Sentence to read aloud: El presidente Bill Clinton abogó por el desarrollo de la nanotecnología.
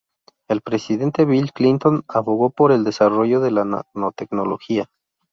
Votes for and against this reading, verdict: 0, 2, rejected